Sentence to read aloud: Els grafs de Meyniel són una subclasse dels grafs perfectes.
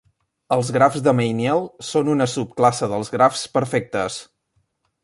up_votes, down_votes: 2, 0